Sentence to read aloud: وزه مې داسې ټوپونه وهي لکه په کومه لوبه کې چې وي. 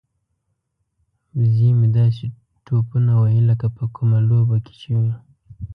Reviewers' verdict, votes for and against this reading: accepted, 2, 0